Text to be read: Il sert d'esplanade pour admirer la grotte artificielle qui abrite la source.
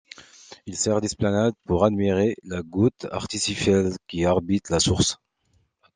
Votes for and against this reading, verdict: 1, 2, rejected